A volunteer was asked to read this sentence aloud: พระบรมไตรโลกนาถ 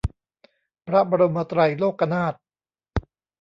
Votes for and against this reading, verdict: 3, 1, accepted